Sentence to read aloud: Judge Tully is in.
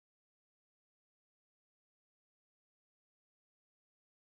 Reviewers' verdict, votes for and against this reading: rejected, 0, 2